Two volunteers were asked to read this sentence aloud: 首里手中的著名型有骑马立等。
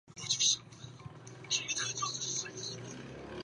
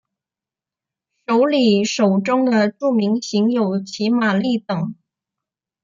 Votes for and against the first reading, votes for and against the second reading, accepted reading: 1, 3, 2, 0, second